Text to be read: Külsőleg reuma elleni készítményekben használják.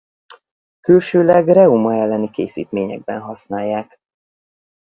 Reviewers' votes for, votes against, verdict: 2, 2, rejected